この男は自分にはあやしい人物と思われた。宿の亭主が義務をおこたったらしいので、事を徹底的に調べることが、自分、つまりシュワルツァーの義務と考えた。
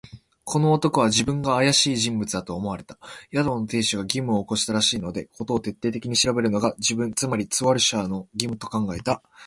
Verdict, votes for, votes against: rejected, 1, 2